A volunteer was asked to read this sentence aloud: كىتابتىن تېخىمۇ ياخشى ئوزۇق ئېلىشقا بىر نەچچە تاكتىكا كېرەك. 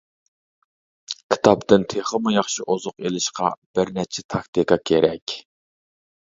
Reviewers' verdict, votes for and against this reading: accepted, 2, 0